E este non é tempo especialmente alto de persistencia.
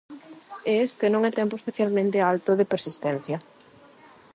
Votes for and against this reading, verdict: 4, 4, rejected